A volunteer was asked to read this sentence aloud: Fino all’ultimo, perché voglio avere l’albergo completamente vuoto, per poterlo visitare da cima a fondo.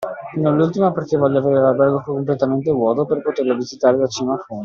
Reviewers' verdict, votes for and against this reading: rejected, 1, 2